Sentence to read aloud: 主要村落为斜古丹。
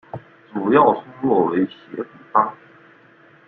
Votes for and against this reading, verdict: 0, 2, rejected